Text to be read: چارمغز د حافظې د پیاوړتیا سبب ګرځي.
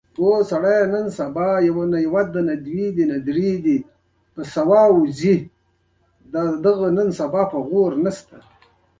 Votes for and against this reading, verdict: 2, 0, accepted